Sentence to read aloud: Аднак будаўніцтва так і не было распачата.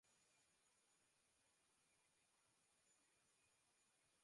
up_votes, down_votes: 0, 2